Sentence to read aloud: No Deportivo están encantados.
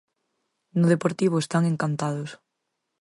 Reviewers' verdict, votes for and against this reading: accepted, 4, 0